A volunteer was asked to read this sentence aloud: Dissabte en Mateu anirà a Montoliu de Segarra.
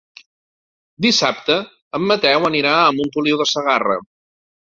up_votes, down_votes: 4, 0